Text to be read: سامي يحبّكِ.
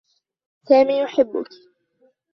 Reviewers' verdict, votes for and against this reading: rejected, 0, 2